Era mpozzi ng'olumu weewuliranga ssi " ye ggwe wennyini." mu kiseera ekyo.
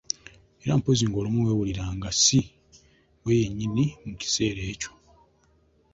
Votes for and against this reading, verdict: 2, 0, accepted